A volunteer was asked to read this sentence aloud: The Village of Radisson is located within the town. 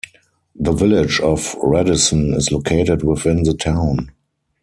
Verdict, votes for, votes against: accepted, 4, 0